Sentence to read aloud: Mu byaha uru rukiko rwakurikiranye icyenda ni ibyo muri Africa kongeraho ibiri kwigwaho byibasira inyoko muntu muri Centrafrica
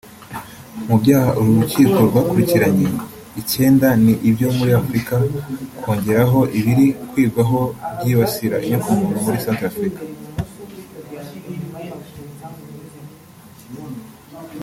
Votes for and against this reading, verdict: 2, 0, accepted